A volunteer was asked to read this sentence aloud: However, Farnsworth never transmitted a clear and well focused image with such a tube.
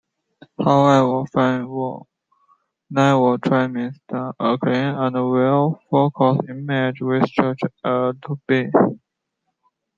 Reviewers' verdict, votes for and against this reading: rejected, 1, 2